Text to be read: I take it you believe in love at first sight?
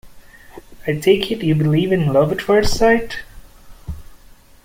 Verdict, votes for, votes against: accepted, 2, 0